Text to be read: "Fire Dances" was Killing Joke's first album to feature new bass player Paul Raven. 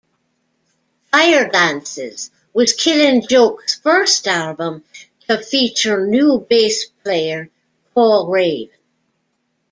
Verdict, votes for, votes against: rejected, 1, 2